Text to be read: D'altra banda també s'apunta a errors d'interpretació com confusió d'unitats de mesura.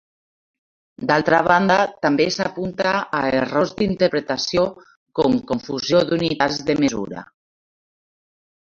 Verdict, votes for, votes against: rejected, 1, 3